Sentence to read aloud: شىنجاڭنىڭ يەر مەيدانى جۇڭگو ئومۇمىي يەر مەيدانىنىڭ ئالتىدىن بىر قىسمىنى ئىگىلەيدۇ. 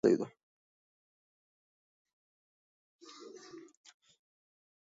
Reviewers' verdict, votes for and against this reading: rejected, 0, 2